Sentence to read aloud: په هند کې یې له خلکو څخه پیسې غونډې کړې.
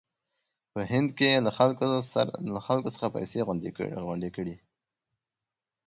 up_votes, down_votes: 0, 2